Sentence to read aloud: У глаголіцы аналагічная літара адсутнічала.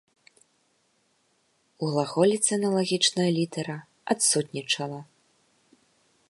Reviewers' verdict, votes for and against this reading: accepted, 2, 0